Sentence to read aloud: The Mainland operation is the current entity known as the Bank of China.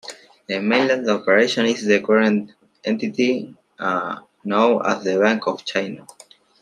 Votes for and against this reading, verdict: 2, 1, accepted